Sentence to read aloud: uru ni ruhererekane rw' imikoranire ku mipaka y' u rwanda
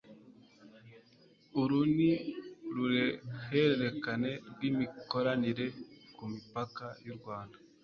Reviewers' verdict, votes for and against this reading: rejected, 1, 3